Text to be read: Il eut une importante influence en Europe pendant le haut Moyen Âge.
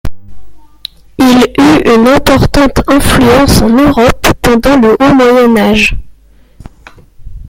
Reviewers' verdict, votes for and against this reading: rejected, 0, 2